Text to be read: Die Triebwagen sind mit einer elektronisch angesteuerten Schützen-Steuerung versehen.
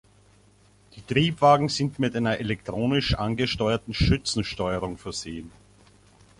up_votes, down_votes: 1, 2